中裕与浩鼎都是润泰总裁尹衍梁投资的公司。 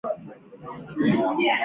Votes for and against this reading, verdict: 2, 1, accepted